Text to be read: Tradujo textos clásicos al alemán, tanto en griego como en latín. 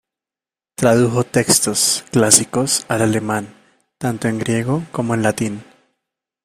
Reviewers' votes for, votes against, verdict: 2, 0, accepted